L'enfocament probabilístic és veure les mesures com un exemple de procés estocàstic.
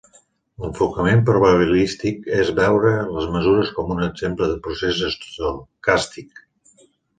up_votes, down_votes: 1, 2